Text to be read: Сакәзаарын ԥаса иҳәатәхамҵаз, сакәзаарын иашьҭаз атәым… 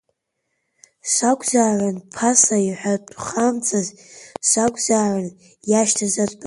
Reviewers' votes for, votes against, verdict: 0, 2, rejected